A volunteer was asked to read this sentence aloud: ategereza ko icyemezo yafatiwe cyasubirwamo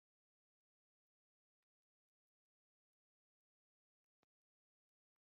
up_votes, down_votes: 0, 2